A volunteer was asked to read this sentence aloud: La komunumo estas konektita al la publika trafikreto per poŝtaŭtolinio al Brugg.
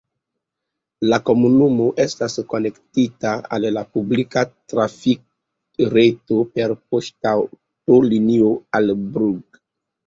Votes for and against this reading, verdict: 1, 2, rejected